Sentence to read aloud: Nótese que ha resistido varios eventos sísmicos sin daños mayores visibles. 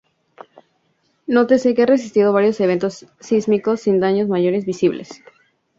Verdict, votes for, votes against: accepted, 2, 0